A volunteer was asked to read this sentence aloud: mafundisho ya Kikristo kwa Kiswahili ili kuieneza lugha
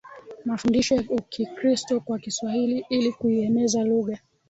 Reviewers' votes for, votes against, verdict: 1, 2, rejected